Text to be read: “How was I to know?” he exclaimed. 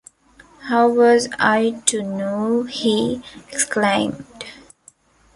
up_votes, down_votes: 2, 0